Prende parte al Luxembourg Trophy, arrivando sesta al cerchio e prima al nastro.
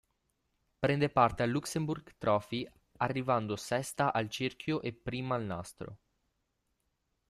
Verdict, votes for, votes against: accepted, 2, 1